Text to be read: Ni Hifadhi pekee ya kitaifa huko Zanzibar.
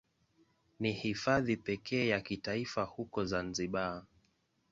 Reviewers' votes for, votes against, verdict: 2, 0, accepted